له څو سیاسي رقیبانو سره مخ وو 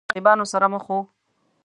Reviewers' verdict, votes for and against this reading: rejected, 0, 2